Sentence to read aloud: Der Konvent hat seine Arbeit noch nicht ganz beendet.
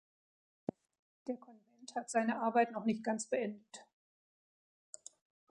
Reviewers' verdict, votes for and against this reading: rejected, 1, 2